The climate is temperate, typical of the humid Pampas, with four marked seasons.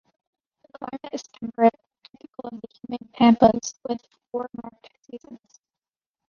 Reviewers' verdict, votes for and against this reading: rejected, 0, 2